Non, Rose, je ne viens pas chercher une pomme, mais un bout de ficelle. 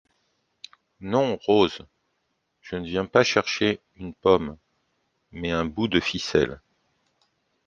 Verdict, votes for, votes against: accepted, 2, 0